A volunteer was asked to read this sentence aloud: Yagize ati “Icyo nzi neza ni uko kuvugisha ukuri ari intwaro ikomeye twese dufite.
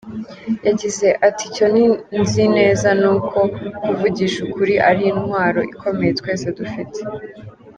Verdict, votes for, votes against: rejected, 1, 2